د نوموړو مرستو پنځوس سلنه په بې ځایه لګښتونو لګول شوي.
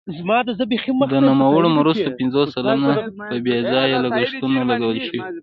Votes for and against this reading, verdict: 2, 0, accepted